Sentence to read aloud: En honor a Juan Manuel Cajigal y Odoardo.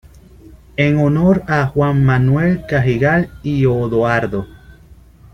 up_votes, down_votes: 2, 0